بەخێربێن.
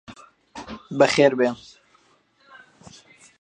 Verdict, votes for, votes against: rejected, 1, 2